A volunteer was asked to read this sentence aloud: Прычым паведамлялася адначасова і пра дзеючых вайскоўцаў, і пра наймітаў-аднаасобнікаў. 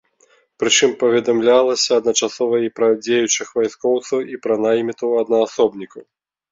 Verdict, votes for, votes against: accepted, 2, 0